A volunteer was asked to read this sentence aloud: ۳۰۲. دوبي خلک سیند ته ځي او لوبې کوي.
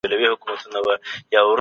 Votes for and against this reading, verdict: 0, 2, rejected